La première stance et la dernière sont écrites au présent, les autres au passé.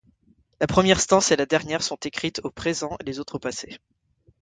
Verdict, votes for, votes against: accepted, 2, 0